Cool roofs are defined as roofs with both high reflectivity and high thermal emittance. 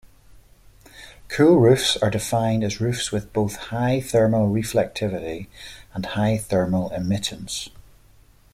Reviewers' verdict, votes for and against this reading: rejected, 0, 2